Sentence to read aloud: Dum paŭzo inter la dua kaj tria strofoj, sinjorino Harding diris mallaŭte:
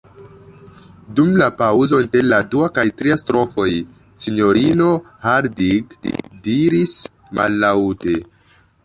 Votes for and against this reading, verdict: 1, 2, rejected